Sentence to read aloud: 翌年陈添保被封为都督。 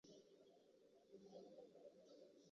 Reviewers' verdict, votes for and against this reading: rejected, 0, 2